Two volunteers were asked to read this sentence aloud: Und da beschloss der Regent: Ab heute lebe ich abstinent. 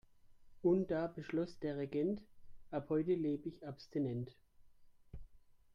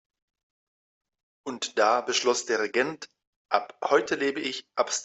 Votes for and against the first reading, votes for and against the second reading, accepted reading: 3, 0, 0, 2, first